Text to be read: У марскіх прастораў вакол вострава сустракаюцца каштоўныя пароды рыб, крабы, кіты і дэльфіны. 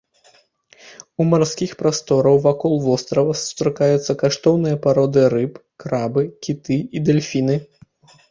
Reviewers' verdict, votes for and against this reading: accepted, 2, 0